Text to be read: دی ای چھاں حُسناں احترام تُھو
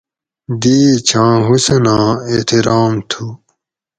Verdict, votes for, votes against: accepted, 4, 0